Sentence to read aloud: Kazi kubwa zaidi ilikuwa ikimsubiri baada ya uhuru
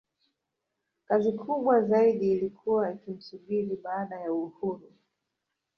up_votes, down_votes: 1, 2